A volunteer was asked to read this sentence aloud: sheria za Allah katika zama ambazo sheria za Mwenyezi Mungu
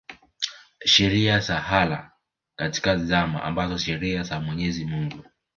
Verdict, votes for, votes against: accepted, 3, 1